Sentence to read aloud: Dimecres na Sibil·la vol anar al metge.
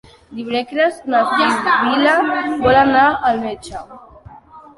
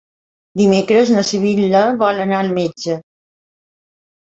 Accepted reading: second